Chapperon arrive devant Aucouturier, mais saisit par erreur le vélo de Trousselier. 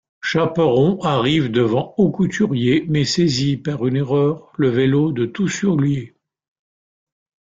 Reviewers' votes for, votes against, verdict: 0, 2, rejected